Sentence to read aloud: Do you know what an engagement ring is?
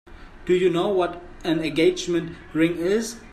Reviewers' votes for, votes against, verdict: 2, 0, accepted